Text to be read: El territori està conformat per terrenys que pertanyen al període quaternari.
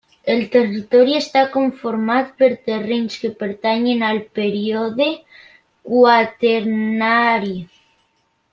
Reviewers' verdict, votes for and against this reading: rejected, 0, 2